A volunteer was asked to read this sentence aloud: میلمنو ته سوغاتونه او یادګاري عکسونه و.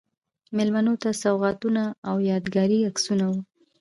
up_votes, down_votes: 0, 2